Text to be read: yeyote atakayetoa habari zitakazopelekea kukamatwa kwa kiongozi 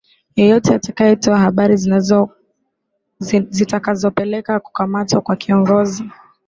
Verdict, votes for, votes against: rejected, 2, 2